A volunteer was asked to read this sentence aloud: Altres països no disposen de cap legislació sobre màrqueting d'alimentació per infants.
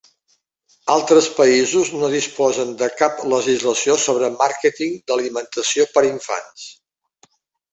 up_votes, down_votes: 4, 0